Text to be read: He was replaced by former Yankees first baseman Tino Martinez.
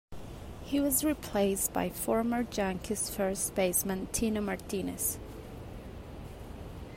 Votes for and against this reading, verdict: 1, 2, rejected